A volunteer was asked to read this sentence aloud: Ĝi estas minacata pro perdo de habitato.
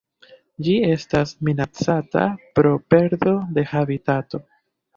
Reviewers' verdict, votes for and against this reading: accepted, 2, 0